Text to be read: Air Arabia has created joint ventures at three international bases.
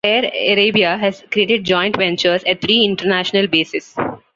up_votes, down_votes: 2, 0